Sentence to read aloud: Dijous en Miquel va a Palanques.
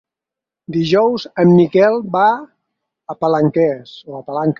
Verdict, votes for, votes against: rejected, 2, 4